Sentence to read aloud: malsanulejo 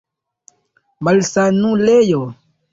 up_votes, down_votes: 2, 0